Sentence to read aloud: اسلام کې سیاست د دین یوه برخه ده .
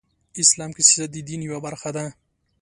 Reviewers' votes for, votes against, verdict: 2, 0, accepted